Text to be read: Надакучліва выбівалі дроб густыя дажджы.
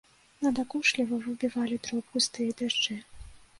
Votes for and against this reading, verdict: 1, 2, rejected